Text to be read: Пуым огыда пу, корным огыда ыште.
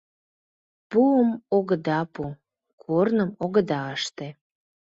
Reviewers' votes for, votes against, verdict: 2, 0, accepted